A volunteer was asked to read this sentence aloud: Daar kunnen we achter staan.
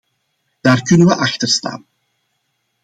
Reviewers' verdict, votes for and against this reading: accepted, 2, 0